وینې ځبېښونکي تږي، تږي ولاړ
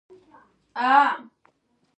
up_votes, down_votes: 0, 2